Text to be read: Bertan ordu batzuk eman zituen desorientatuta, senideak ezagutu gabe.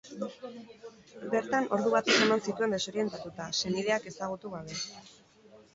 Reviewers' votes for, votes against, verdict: 8, 2, accepted